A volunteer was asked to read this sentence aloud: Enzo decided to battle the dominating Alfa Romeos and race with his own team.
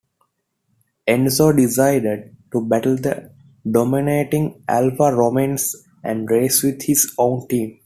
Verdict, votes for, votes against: rejected, 1, 2